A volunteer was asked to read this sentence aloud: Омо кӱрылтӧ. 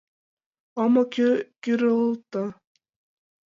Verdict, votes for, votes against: rejected, 1, 2